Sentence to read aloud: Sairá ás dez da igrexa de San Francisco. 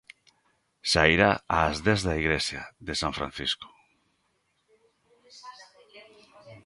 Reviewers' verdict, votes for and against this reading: rejected, 1, 2